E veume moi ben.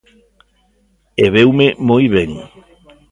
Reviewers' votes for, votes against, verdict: 1, 2, rejected